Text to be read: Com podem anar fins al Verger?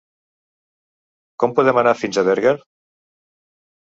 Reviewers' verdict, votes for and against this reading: rejected, 2, 3